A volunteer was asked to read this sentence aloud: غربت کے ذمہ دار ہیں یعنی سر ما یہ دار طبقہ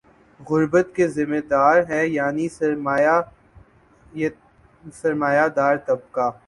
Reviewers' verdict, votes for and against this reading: rejected, 2, 5